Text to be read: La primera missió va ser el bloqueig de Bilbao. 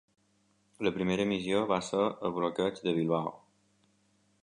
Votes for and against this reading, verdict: 3, 0, accepted